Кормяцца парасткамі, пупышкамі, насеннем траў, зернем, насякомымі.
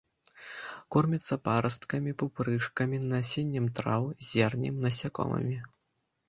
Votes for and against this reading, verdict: 0, 2, rejected